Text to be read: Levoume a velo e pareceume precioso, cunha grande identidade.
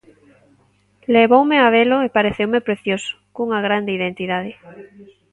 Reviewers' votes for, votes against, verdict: 1, 2, rejected